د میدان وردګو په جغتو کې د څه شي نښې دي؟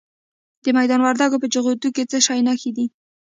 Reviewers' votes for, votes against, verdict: 2, 0, accepted